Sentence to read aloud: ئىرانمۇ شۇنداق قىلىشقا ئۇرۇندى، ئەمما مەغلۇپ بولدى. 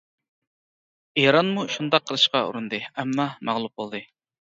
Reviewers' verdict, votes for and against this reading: accepted, 2, 0